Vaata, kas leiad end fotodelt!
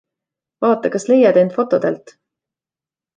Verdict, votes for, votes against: accepted, 2, 1